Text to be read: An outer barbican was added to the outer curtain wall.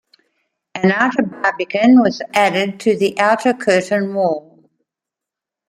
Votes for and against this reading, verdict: 1, 2, rejected